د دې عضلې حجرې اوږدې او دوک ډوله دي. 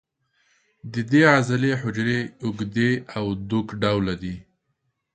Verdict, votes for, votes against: accepted, 2, 0